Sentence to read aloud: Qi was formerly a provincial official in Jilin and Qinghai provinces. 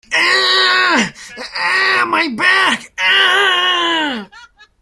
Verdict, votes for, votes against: rejected, 0, 2